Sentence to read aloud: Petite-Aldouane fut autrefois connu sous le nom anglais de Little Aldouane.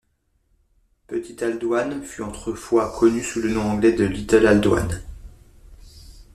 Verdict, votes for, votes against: accepted, 2, 1